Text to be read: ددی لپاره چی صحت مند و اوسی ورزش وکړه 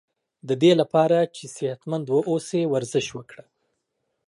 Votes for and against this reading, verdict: 2, 0, accepted